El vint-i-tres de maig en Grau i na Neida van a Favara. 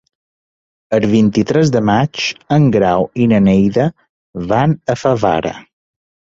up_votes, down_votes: 2, 0